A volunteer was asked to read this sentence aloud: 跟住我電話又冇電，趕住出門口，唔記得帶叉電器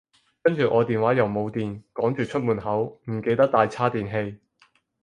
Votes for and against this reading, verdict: 4, 0, accepted